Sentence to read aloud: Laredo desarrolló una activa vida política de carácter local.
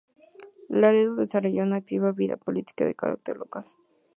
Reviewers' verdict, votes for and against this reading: accepted, 2, 0